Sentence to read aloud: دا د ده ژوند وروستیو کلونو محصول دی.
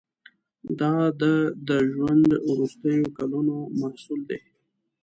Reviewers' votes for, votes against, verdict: 0, 2, rejected